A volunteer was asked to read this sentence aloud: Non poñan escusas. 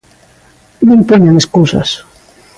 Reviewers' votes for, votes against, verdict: 3, 0, accepted